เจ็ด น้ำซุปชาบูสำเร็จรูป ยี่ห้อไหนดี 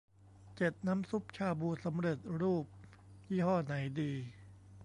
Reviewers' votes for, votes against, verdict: 2, 0, accepted